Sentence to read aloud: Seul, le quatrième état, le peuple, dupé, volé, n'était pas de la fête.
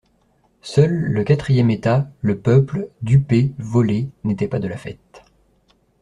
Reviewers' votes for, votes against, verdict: 2, 0, accepted